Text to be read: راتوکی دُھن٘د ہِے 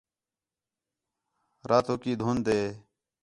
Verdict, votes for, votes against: accepted, 4, 0